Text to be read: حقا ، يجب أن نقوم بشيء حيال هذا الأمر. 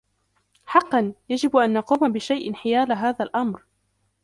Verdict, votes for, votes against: accepted, 2, 0